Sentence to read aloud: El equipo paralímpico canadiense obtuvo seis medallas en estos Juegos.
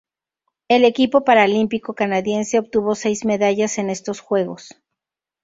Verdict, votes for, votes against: rejected, 2, 2